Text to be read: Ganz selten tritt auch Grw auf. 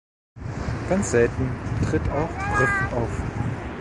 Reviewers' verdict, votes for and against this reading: rejected, 1, 2